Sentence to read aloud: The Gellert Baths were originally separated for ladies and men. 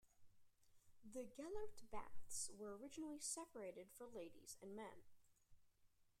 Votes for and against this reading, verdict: 0, 2, rejected